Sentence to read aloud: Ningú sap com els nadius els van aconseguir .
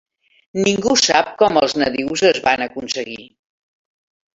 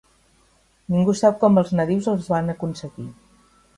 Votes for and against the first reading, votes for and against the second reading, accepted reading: 1, 2, 4, 1, second